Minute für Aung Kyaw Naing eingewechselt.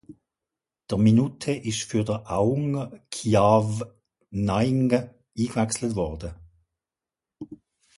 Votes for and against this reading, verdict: 0, 2, rejected